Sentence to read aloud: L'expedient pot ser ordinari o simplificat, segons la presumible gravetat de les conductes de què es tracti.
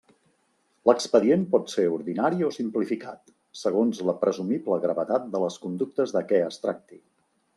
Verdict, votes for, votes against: accepted, 2, 0